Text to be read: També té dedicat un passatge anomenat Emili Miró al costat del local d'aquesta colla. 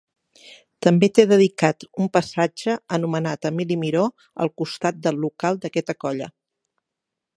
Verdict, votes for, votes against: rejected, 3, 6